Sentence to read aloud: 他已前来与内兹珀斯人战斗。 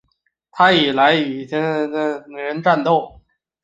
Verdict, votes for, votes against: rejected, 0, 2